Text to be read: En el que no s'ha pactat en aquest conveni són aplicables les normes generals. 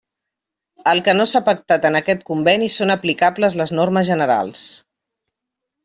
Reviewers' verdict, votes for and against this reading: rejected, 1, 2